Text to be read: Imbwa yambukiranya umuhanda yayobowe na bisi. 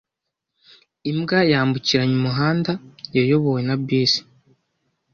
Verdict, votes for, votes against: accepted, 2, 1